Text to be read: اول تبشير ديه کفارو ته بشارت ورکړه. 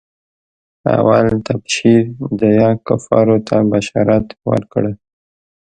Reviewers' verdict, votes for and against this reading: accepted, 2, 0